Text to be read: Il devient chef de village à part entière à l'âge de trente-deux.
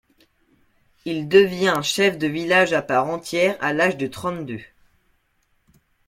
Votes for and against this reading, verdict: 2, 0, accepted